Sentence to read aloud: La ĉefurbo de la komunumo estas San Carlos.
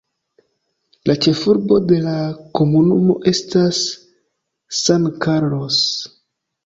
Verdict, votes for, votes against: accepted, 2, 0